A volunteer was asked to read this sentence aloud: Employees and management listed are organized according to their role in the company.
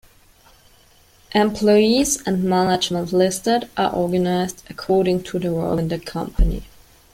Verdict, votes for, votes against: accepted, 2, 0